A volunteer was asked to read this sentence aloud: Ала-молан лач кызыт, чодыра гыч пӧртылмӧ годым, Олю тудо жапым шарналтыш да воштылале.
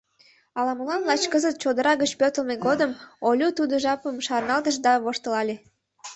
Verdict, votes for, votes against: accepted, 2, 1